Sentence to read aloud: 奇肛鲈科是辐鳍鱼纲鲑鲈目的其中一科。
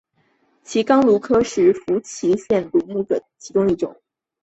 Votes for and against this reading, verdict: 3, 0, accepted